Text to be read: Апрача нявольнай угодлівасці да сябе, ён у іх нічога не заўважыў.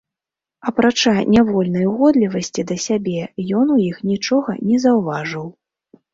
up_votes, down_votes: 2, 0